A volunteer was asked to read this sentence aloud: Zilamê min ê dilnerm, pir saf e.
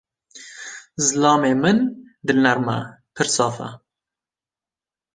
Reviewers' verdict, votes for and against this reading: rejected, 0, 2